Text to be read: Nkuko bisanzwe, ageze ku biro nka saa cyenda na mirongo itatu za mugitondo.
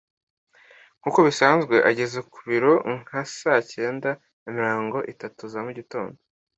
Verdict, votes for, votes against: accepted, 2, 0